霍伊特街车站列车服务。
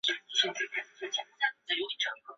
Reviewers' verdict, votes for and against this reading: rejected, 0, 6